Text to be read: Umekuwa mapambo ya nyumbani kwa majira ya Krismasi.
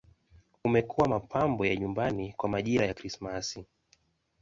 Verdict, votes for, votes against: accepted, 2, 0